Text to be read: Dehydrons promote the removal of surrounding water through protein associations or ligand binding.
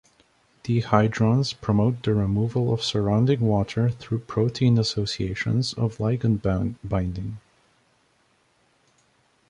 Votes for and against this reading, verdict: 0, 2, rejected